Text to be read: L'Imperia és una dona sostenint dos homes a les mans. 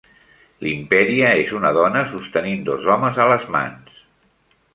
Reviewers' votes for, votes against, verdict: 3, 0, accepted